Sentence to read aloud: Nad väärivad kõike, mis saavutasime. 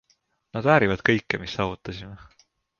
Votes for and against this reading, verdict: 3, 0, accepted